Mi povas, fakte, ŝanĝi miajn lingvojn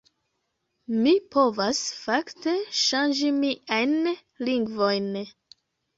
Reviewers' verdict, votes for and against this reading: accepted, 2, 1